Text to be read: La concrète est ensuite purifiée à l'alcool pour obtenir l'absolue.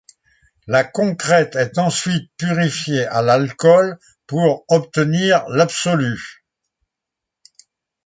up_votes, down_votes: 2, 1